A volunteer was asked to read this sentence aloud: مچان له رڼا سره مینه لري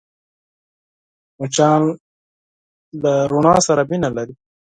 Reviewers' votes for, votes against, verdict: 4, 2, accepted